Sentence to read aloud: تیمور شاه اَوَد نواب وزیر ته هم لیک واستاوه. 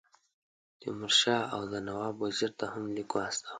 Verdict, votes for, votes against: accepted, 2, 0